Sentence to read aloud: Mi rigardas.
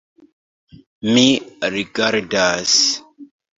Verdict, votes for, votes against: accepted, 2, 0